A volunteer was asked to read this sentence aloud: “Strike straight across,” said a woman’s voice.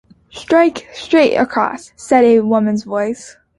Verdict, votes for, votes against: accepted, 3, 1